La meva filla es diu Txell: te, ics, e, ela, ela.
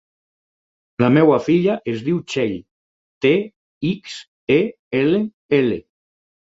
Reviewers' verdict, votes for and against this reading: rejected, 2, 4